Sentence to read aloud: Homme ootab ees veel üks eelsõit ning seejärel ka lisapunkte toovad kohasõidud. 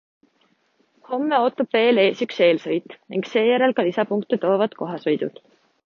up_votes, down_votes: 0, 2